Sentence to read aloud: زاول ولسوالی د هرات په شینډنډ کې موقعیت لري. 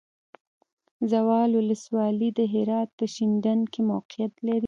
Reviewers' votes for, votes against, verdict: 2, 0, accepted